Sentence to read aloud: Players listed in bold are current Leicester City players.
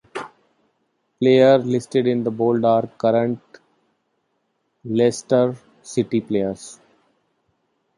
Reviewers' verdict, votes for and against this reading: rejected, 0, 2